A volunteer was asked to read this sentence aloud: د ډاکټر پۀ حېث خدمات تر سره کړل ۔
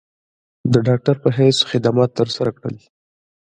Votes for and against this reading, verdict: 2, 0, accepted